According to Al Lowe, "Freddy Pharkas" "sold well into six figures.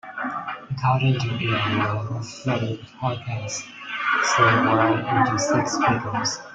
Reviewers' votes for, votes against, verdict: 0, 2, rejected